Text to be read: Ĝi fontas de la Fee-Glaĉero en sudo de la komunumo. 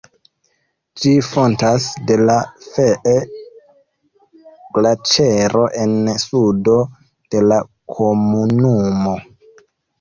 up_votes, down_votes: 1, 2